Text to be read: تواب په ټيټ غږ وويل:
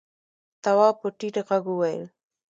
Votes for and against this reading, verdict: 2, 0, accepted